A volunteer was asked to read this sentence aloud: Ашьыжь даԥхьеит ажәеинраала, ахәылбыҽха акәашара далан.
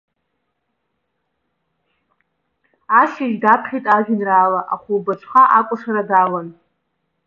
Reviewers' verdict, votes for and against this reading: accepted, 2, 0